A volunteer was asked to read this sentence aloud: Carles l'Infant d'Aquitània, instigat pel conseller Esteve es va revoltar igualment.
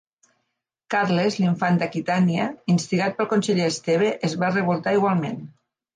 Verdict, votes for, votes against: accepted, 2, 0